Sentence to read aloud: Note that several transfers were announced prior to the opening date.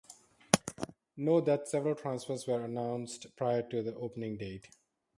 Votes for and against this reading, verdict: 4, 0, accepted